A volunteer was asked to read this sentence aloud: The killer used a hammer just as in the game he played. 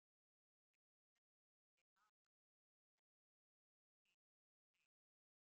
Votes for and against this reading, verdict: 0, 2, rejected